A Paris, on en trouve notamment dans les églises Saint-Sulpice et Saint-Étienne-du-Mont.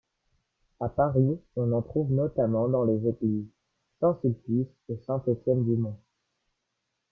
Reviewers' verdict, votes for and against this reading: rejected, 1, 2